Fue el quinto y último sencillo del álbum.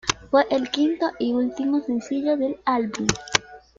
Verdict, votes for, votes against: accepted, 2, 0